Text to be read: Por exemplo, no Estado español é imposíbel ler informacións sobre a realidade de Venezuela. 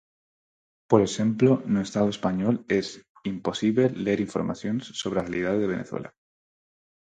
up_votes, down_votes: 0, 4